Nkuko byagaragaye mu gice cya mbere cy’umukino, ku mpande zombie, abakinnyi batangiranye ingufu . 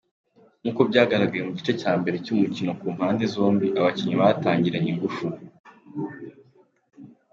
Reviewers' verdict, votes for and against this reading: accepted, 2, 1